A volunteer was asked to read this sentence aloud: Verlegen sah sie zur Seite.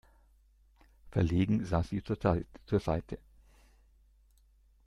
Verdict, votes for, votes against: rejected, 0, 2